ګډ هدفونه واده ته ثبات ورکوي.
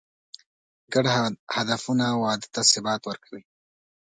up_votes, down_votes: 2, 0